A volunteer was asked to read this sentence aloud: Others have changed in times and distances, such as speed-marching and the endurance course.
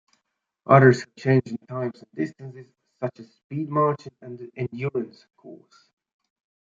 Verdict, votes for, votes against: rejected, 0, 2